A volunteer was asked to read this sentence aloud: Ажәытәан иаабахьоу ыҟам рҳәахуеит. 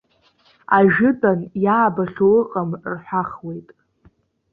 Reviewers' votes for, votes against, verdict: 1, 2, rejected